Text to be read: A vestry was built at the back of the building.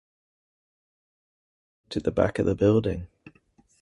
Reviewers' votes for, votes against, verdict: 0, 2, rejected